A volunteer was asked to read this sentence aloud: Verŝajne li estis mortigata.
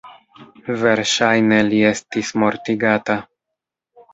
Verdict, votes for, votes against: rejected, 1, 2